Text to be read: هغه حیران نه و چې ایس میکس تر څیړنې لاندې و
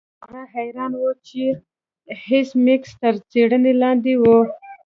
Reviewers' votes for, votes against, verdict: 0, 3, rejected